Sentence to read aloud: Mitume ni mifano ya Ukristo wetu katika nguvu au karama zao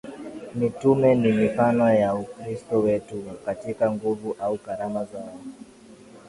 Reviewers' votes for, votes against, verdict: 3, 0, accepted